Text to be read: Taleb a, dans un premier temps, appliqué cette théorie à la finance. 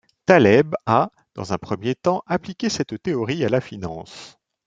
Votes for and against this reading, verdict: 2, 0, accepted